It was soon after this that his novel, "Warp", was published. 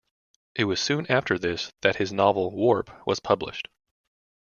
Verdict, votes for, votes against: accepted, 2, 0